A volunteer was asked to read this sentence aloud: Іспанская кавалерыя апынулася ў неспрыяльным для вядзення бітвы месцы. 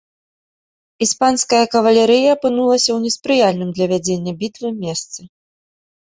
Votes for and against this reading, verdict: 1, 2, rejected